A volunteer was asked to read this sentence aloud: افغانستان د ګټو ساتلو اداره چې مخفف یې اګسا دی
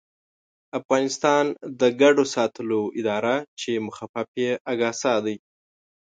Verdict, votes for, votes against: rejected, 2, 3